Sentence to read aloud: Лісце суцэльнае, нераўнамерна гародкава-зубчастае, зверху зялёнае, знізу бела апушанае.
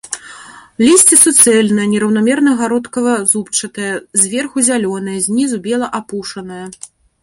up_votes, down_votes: 1, 2